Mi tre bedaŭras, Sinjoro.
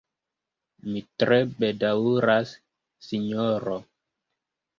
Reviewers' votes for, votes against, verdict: 1, 2, rejected